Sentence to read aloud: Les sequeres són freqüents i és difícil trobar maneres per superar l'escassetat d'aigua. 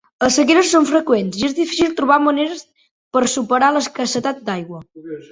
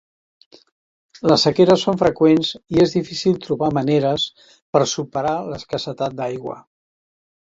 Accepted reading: second